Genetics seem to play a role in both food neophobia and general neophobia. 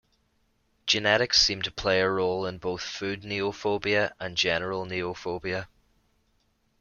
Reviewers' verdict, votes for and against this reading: accepted, 2, 0